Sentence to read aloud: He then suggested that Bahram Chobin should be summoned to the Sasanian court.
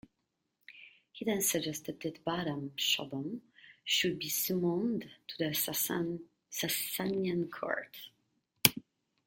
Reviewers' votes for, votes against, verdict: 0, 2, rejected